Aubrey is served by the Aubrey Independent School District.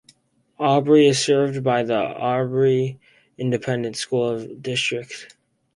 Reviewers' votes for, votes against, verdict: 4, 0, accepted